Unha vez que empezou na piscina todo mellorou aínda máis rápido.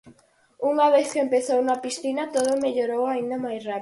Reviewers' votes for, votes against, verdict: 4, 2, accepted